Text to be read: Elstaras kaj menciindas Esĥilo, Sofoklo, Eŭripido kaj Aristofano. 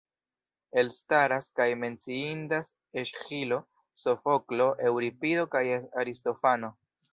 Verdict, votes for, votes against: rejected, 1, 2